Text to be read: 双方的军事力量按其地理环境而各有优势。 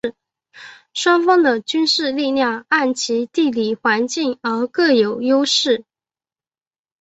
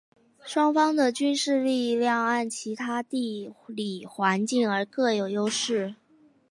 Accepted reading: first